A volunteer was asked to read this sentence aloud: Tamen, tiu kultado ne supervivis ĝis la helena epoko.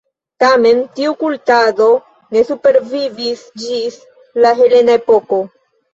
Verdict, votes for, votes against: rejected, 1, 2